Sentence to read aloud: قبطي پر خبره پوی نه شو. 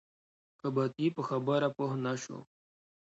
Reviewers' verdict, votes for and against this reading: accepted, 2, 0